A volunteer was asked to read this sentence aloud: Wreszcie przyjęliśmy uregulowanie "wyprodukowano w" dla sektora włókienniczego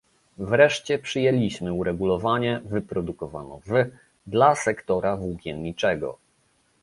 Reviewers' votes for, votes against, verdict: 2, 0, accepted